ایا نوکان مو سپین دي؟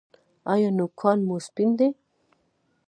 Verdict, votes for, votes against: accepted, 2, 0